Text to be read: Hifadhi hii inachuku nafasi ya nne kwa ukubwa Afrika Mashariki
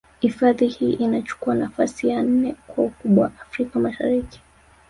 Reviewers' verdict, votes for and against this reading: rejected, 1, 2